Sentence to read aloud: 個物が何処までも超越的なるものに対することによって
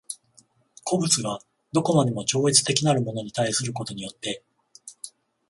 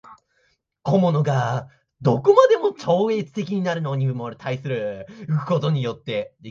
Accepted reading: first